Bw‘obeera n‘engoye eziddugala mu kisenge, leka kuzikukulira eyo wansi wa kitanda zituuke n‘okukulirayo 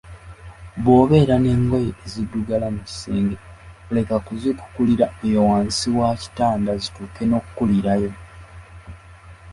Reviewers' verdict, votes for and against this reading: accepted, 2, 0